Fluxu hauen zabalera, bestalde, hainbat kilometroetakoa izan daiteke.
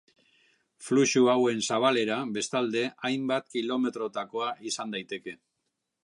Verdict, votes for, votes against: accepted, 3, 1